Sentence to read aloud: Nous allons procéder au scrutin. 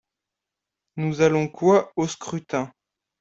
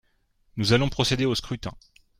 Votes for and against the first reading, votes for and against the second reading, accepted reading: 0, 2, 2, 0, second